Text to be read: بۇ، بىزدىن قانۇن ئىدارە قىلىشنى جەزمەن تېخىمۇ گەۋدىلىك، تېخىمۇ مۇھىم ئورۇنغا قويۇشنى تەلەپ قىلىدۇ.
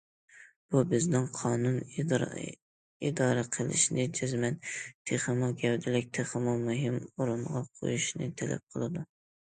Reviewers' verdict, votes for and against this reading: rejected, 0, 2